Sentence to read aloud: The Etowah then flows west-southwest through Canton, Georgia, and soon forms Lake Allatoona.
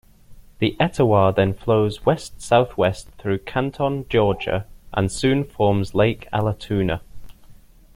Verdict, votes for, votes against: accepted, 2, 0